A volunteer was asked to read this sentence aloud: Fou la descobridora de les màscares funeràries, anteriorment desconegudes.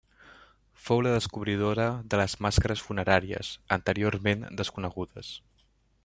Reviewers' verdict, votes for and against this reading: accepted, 2, 0